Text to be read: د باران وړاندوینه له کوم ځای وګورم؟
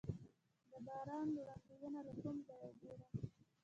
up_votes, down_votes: 1, 2